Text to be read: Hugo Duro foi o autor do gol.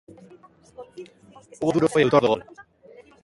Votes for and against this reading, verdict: 0, 2, rejected